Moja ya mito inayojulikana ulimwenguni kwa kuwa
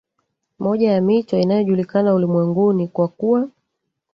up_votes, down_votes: 1, 2